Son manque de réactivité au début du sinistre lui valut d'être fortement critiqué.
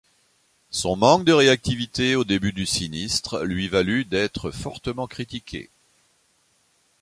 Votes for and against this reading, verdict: 2, 0, accepted